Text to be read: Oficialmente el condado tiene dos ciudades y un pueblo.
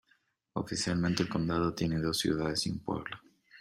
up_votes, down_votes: 2, 0